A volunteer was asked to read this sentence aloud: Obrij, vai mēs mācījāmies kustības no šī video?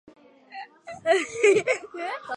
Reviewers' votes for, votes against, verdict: 0, 2, rejected